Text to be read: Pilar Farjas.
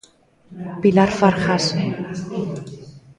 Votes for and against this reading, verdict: 1, 2, rejected